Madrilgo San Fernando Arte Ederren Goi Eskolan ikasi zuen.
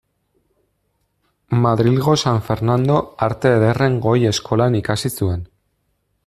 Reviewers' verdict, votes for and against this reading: accepted, 2, 0